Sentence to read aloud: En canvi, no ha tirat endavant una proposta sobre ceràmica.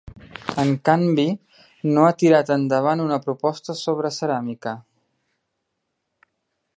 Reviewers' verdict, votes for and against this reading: accepted, 3, 0